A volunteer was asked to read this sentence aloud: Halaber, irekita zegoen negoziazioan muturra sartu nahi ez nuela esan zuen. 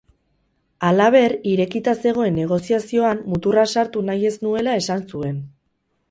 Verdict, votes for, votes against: rejected, 0, 2